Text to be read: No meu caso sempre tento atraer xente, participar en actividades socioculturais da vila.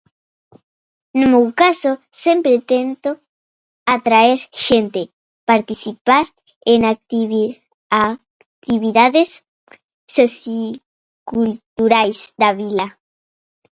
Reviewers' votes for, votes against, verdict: 0, 2, rejected